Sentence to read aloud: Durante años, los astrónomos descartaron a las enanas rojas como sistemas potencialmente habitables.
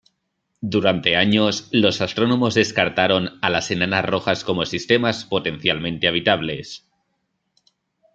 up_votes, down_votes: 2, 0